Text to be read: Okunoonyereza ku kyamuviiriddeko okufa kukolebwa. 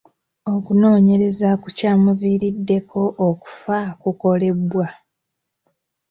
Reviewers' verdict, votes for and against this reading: accepted, 2, 1